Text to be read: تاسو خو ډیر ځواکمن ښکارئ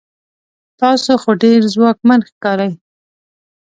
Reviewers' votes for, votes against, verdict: 2, 0, accepted